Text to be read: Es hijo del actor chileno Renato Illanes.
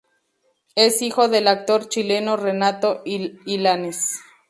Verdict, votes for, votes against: accepted, 2, 0